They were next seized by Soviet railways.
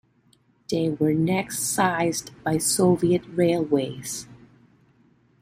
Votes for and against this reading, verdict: 1, 2, rejected